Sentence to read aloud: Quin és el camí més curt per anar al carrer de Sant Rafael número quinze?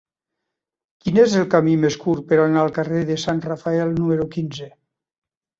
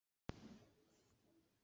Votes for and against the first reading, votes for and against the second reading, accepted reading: 3, 0, 0, 2, first